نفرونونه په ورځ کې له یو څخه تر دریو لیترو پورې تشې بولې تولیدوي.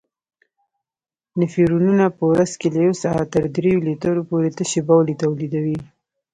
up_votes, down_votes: 1, 2